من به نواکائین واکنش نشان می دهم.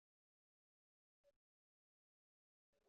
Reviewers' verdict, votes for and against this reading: rejected, 0, 2